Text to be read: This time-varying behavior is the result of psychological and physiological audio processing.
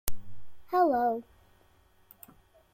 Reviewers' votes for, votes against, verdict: 0, 2, rejected